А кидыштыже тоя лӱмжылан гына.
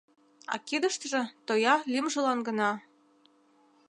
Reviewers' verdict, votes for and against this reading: accepted, 2, 0